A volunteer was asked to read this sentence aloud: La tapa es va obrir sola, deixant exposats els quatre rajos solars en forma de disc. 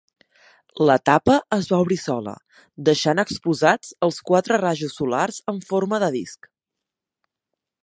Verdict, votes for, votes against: accepted, 2, 0